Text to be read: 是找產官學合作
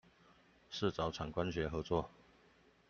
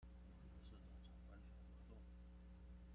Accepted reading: first